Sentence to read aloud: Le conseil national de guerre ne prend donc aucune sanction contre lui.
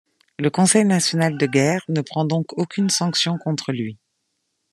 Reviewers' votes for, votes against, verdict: 2, 0, accepted